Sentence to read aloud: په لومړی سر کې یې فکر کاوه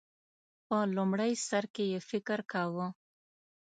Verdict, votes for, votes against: accepted, 3, 0